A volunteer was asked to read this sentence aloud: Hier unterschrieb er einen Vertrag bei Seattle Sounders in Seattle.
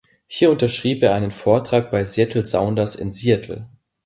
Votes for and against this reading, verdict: 1, 2, rejected